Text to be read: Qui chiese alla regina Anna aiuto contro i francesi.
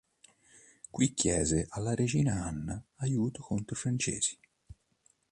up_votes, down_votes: 2, 0